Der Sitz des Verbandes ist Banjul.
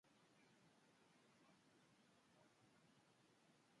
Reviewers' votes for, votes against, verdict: 0, 2, rejected